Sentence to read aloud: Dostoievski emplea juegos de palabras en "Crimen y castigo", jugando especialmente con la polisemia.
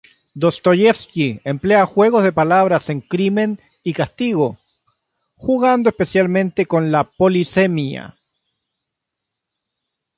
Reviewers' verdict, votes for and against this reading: accepted, 3, 0